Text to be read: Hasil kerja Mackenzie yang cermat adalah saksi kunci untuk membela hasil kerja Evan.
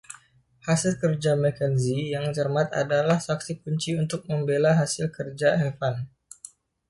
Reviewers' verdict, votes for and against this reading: accepted, 2, 0